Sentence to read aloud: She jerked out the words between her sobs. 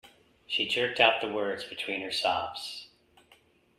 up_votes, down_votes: 2, 0